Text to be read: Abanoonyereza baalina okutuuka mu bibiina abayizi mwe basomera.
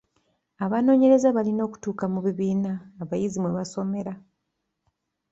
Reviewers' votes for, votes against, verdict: 2, 1, accepted